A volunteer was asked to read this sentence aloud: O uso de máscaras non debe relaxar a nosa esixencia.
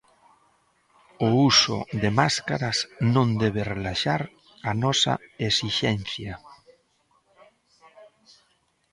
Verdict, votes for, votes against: accepted, 2, 0